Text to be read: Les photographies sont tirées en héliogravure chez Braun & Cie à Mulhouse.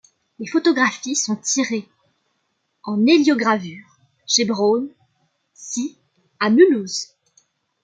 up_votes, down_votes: 1, 2